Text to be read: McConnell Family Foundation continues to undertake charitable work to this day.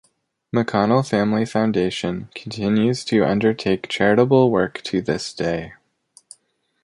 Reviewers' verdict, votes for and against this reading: accepted, 2, 1